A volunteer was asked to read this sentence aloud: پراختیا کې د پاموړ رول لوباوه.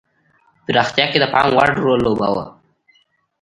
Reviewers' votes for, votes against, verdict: 1, 2, rejected